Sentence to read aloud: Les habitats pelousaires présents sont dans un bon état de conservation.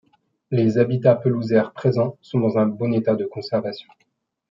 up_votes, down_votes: 1, 2